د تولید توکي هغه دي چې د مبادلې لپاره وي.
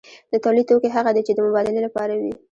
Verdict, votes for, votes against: accepted, 2, 0